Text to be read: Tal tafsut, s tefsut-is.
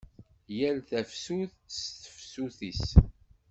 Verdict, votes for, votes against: rejected, 0, 2